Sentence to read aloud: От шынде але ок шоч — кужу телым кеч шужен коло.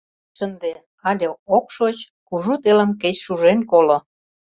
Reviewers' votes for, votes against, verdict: 1, 2, rejected